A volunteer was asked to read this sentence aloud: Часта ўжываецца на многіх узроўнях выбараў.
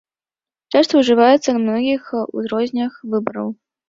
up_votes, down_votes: 0, 2